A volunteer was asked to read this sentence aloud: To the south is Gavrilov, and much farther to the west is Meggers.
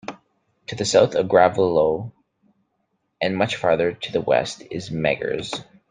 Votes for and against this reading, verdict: 1, 2, rejected